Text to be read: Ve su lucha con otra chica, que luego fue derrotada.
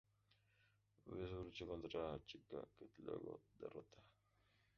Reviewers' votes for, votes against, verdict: 0, 4, rejected